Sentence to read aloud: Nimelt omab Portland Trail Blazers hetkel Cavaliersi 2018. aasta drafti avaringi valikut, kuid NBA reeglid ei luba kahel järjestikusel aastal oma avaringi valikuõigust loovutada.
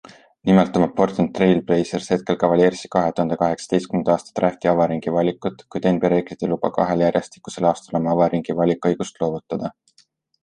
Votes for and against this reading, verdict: 0, 2, rejected